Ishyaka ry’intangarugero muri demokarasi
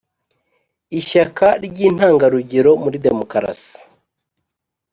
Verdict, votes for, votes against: accepted, 4, 0